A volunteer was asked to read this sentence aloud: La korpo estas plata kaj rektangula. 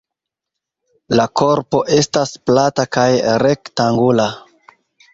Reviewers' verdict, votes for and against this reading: accepted, 2, 1